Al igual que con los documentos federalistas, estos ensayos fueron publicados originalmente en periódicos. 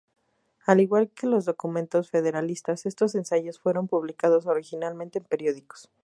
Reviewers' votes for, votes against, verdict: 2, 2, rejected